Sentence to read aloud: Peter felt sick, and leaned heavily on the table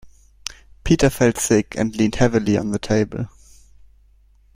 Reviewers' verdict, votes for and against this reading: accepted, 2, 0